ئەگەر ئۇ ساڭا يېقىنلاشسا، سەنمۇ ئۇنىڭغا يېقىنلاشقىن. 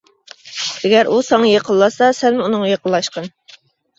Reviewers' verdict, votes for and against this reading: accepted, 2, 0